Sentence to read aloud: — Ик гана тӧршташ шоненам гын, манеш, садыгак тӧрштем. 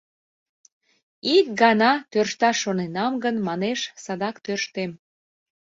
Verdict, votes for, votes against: rejected, 0, 2